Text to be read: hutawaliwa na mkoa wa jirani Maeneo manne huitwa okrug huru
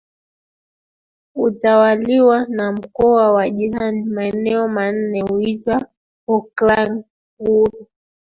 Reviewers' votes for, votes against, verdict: 0, 2, rejected